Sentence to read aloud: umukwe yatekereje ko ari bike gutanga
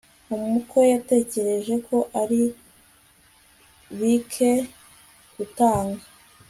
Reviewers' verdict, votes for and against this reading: rejected, 1, 2